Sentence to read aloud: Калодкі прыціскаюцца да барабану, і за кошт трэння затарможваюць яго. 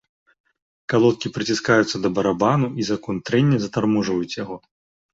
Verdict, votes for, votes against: rejected, 0, 4